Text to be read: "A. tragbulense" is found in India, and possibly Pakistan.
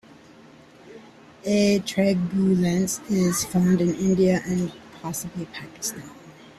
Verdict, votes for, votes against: rejected, 0, 2